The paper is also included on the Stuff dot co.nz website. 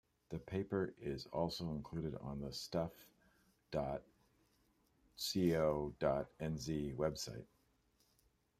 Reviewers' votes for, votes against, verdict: 0, 2, rejected